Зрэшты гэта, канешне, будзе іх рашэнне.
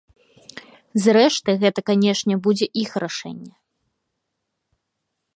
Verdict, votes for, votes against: accepted, 2, 0